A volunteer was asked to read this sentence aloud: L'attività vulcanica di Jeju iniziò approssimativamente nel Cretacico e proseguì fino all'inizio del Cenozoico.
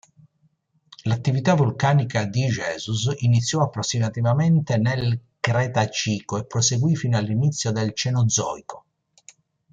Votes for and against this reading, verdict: 1, 2, rejected